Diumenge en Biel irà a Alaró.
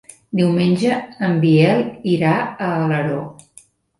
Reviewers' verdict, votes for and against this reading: accepted, 3, 1